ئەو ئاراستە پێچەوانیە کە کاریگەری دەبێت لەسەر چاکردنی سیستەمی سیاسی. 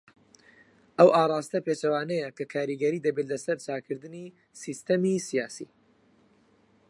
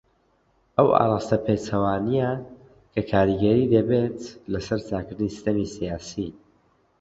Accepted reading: second